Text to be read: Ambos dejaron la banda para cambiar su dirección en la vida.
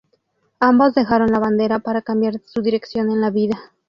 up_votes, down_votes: 0, 2